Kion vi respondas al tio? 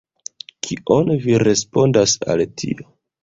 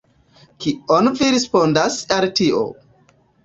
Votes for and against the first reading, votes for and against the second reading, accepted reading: 1, 2, 2, 1, second